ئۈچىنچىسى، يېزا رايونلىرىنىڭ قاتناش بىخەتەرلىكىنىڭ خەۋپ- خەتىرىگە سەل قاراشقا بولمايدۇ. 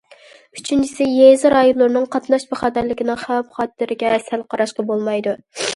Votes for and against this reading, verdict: 2, 0, accepted